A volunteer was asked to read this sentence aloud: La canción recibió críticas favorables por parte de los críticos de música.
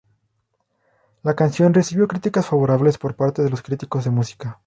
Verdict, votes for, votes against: rejected, 2, 2